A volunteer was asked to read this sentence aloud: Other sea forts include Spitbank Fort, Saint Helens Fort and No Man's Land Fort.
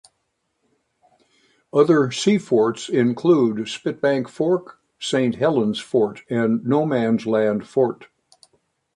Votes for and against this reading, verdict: 2, 0, accepted